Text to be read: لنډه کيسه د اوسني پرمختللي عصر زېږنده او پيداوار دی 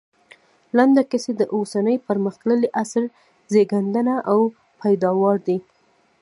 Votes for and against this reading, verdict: 1, 2, rejected